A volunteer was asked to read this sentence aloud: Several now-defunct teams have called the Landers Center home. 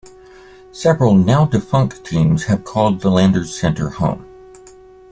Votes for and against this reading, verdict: 2, 0, accepted